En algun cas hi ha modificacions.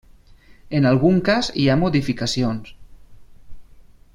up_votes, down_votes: 3, 0